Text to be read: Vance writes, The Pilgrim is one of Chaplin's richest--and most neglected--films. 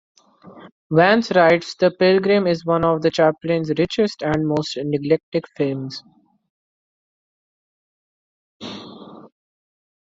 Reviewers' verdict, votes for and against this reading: accepted, 2, 1